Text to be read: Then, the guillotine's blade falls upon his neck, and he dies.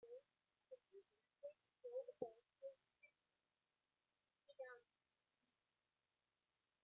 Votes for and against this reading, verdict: 0, 2, rejected